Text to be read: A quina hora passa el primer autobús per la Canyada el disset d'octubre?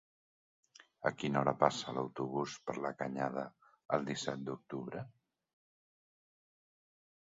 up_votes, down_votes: 0, 2